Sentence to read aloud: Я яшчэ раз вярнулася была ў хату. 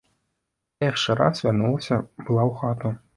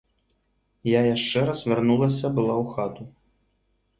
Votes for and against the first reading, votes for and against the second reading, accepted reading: 1, 2, 2, 0, second